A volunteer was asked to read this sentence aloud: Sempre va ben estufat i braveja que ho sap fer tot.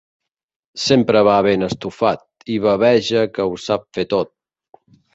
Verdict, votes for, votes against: rejected, 0, 3